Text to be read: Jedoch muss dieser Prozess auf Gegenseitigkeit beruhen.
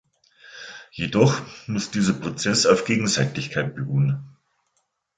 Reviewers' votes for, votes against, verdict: 2, 0, accepted